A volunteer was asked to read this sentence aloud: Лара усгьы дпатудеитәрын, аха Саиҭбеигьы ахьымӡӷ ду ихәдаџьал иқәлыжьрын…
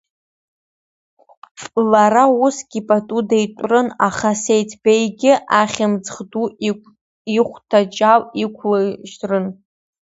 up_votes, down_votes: 0, 2